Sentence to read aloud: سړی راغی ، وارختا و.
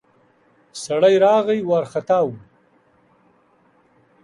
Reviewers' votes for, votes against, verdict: 2, 0, accepted